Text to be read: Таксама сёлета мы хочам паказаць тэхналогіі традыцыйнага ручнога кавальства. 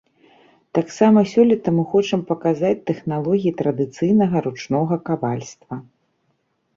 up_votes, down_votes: 2, 0